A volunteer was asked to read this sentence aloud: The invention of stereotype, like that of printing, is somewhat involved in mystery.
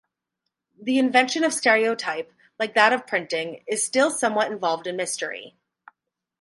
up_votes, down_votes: 4, 2